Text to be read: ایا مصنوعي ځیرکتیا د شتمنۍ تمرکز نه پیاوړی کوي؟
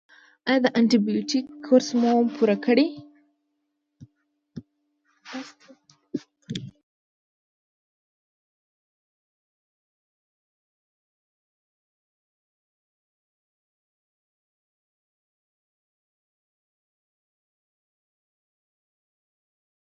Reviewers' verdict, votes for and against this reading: rejected, 0, 2